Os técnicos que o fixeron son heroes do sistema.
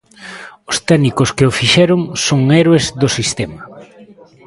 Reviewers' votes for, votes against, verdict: 0, 2, rejected